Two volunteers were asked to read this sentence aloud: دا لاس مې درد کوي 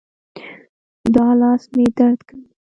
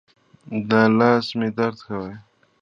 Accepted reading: second